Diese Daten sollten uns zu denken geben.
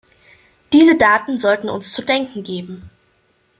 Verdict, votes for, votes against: accepted, 2, 0